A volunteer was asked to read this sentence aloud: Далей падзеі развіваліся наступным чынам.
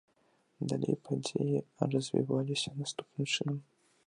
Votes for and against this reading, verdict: 0, 2, rejected